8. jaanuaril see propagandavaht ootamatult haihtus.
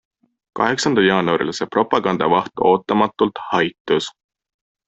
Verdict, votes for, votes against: rejected, 0, 2